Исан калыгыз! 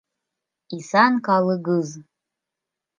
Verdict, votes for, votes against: rejected, 1, 2